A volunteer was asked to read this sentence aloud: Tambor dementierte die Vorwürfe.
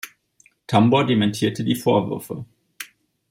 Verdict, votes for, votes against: accepted, 2, 0